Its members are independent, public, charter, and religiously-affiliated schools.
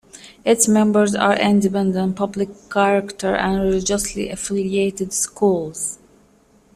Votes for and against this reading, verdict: 0, 2, rejected